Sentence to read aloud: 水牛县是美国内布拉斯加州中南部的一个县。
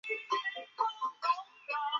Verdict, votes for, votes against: rejected, 0, 2